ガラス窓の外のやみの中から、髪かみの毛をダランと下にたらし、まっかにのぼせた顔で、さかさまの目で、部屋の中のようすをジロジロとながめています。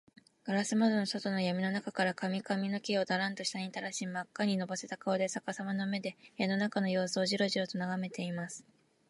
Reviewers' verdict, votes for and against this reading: accepted, 2, 0